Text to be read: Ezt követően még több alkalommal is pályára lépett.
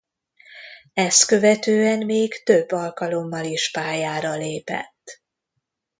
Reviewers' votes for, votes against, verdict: 2, 1, accepted